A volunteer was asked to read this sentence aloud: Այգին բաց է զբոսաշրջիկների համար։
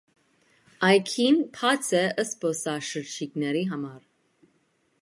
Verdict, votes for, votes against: rejected, 1, 2